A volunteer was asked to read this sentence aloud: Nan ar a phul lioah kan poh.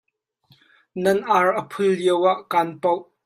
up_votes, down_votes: 2, 1